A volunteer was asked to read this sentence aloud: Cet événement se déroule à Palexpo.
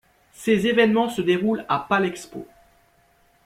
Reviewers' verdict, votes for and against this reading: rejected, 1, 2